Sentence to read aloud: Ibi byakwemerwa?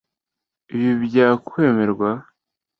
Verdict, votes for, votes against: accepted, 2, 0